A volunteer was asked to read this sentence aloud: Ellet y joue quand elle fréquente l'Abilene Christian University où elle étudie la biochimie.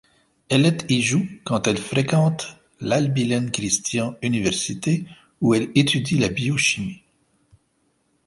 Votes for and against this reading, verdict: 1, 2, rejected